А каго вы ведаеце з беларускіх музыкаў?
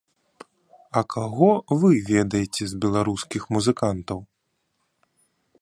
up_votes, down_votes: 0, 3